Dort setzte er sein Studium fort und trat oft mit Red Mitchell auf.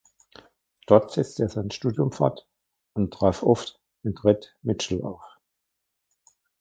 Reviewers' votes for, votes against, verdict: 0, 2, rejected